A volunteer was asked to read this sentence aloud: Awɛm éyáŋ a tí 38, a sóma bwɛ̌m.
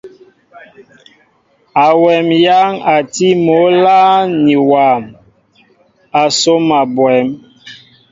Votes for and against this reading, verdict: 0, 2, rejected